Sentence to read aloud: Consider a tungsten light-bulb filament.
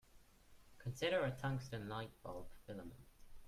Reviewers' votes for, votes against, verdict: 1, 2, rejected